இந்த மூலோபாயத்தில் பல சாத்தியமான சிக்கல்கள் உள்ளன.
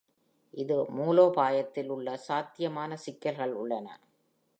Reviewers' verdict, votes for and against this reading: rejected, 1, 2